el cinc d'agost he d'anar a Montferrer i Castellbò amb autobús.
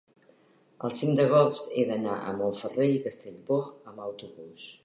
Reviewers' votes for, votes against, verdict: 2, 1, accepted